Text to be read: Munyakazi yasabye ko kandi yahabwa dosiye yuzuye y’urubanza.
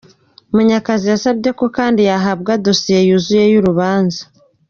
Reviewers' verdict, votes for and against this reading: accepted, 2, 0